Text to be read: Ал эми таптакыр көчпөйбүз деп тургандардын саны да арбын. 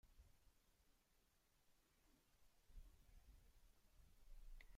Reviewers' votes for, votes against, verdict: 1, 2, rejected